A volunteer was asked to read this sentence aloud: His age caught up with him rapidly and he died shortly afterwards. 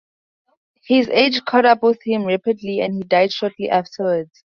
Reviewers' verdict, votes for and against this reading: accepted, 4, 0